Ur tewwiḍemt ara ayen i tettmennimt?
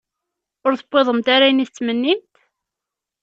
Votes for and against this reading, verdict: 2, 0, accepted